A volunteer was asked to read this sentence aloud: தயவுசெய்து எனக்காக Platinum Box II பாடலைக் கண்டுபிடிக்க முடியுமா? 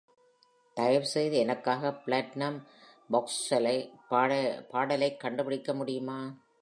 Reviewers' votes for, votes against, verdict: 0, 2, rejected